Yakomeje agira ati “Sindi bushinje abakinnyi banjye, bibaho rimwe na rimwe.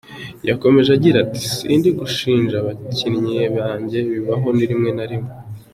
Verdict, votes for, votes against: rejected, 1, 2